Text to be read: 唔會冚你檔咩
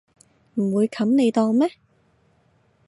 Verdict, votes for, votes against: accepted, 2, 0